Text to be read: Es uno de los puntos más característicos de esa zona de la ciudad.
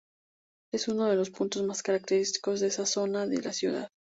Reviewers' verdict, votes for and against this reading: accepted, 2, 0